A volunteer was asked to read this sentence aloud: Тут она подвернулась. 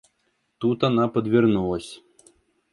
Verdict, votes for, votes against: accepted, 2, 0